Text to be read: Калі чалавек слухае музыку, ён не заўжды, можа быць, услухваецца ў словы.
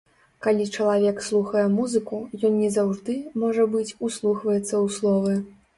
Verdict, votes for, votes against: accepted, 2, 0